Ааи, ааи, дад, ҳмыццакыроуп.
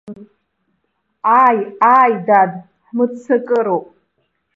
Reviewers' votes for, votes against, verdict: 2, 0, accepted